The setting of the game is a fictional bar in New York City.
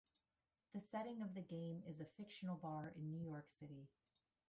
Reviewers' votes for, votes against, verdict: 2, 1, accepted